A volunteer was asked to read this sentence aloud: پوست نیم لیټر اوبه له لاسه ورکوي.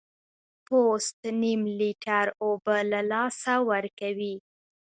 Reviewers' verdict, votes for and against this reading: accepted, 2, 0